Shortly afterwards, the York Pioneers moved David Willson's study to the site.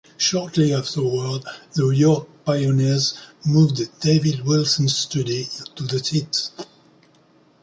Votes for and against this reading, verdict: 0, 2, rejected